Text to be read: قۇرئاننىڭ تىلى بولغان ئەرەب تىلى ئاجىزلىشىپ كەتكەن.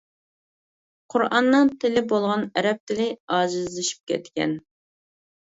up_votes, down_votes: 2, 0